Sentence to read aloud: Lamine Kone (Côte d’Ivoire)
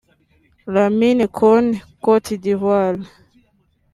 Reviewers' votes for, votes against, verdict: 1, 2, rejected